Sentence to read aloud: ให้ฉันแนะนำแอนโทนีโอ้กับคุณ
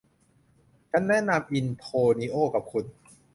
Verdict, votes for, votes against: rejected, 0, 2